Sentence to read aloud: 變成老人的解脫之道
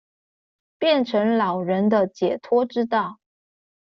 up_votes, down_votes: 2, 0